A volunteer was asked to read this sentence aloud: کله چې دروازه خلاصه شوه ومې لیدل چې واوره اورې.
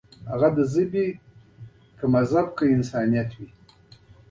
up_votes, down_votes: 1, 2